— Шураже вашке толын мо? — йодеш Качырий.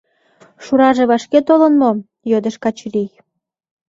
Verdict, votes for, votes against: accepted, 2, 0